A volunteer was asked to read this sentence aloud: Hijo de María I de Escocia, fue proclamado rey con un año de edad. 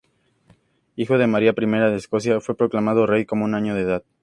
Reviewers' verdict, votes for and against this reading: accepted, 2, 0